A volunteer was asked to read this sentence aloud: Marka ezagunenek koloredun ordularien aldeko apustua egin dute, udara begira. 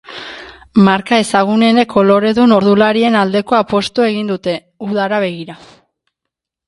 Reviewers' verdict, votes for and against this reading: accepted, 2, 1